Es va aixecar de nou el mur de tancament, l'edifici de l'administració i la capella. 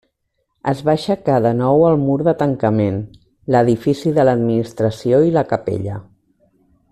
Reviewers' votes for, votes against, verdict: 3, 0, accepted